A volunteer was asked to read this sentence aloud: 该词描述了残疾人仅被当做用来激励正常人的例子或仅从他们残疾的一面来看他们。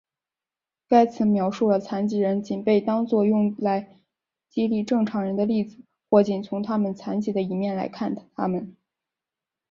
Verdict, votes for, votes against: accepted, 3, 0